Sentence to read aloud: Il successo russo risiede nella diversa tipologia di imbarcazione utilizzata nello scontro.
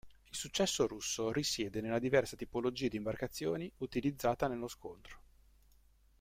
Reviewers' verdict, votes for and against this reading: rejected, 0, 2